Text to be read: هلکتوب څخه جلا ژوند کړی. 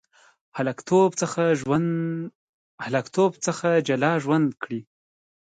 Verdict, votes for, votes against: rejected, 1, 2